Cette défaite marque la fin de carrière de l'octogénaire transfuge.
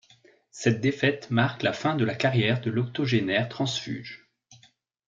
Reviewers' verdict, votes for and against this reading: rejected, 0, 2